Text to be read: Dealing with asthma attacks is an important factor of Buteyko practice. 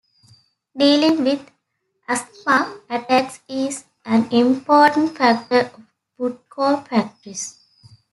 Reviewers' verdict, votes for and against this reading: rejected, 1, 2